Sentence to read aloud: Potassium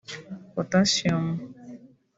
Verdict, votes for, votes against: rejected, 0, 2